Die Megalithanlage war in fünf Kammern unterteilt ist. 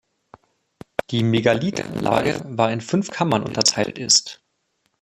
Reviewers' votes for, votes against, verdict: 2, 1, accepted